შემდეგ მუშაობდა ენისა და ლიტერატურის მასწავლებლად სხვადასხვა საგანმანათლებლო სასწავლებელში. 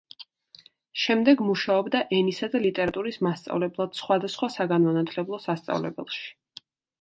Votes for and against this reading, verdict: 2, 0, accepted